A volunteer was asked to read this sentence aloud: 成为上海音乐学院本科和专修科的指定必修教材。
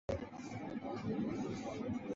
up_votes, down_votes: 0, 2